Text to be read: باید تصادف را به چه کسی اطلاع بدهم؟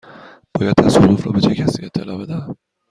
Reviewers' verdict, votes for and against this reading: accepted, 2, 0